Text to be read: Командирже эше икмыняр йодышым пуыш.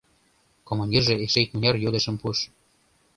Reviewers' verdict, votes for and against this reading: accepted, 2, 0